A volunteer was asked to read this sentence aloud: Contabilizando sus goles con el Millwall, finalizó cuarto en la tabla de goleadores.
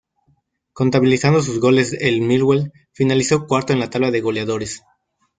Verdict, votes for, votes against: rejected, 0, 2